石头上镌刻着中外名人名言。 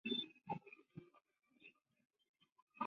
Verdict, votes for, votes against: rejected, 0, 2